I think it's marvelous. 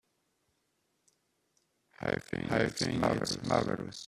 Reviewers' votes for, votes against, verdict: 0, 2, rejected